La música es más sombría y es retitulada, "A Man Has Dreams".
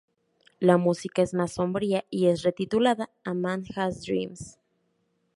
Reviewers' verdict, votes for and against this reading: accepted, 2, 0